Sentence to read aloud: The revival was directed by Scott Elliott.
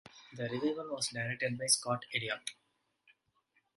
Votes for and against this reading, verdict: 0, 2, rejected